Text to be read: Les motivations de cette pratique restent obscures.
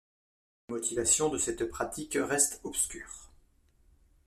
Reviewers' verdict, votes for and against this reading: rejected, 1, 2